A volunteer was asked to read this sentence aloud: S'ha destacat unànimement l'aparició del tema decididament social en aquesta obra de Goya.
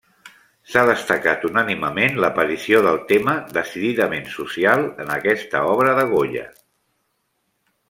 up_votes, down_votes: 2, 0